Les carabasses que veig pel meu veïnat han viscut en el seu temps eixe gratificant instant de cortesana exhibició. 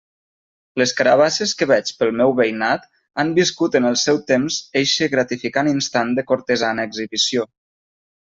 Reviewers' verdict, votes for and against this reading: accepted, 3, 0